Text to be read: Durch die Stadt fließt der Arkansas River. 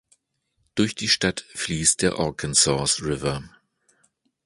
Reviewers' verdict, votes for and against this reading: rejected, 0, 2